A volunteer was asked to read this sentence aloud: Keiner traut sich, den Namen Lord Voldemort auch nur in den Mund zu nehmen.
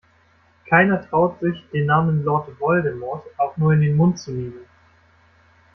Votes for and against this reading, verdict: 2, 0, accepted